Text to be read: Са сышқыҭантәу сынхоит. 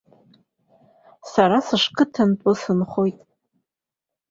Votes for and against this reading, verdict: 2, 1, accepted